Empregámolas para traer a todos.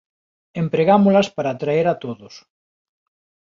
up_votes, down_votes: 5, 0